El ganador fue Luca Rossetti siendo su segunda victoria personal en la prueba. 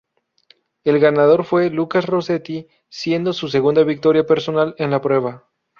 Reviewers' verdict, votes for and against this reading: rejected, 0, 2